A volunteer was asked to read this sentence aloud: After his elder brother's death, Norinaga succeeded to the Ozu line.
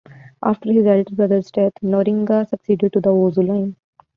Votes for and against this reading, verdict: 0, 2, rejected